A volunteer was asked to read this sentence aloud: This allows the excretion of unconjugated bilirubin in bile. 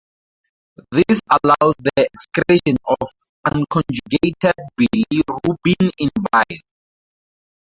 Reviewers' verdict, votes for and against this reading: rejected, 0, 2